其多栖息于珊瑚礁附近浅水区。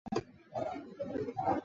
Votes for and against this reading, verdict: 0, 2, rejected